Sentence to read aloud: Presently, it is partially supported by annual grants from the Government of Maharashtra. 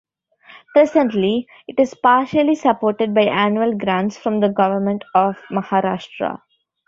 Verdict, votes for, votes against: accepted, 2, 0